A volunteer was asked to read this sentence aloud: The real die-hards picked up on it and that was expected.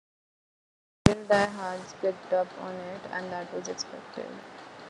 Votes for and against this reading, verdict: 0, 2, rejected